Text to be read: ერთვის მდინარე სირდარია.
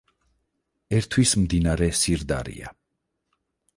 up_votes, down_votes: 6, 0